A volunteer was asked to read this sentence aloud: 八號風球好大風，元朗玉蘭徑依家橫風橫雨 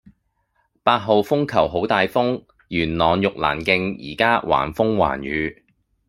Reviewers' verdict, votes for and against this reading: accepted, 2, 1